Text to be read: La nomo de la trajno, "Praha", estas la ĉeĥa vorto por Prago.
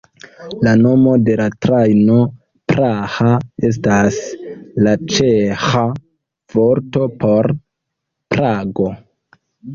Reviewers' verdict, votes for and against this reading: accepted, 2, 0